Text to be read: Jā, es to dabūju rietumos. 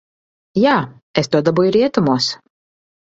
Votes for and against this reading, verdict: 3, 0, accepted